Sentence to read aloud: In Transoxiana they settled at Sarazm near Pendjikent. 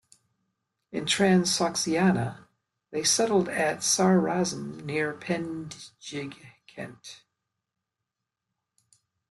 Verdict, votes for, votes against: rejected, 1, 2